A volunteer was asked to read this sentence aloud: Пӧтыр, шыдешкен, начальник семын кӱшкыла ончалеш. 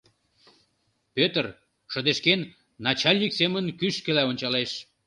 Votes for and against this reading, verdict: 2, 1, accepted